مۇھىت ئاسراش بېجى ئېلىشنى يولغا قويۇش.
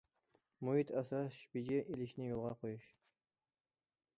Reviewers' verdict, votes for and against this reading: rejected, 1, 2